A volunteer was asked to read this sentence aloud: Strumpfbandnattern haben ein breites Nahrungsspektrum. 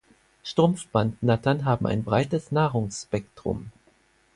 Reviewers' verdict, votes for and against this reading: accepted, 4, 0